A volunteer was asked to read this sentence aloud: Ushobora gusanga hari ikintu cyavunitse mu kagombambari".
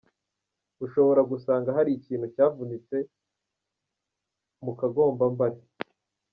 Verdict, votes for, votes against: rejected, 1, 2